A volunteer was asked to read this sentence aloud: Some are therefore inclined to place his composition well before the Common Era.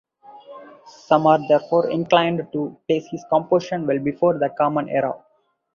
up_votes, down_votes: 0, 4